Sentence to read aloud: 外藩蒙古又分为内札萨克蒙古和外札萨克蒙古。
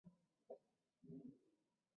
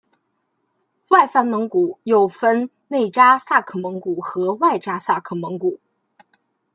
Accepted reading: second